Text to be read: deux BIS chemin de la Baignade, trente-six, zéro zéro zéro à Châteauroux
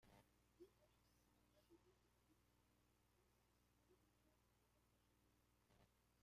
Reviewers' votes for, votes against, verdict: 0, 2, rejected